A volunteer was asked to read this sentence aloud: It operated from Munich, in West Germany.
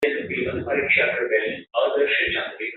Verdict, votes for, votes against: rejected, 1, 3